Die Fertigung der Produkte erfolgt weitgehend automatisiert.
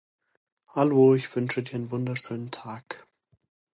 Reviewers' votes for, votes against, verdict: 0, 2, rejected